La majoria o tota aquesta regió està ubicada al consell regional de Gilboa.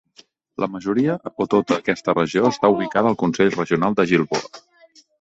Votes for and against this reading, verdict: 0, 2, rejected